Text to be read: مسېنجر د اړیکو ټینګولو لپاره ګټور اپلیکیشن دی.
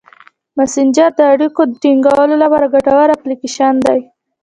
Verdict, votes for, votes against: rejected, 0, 2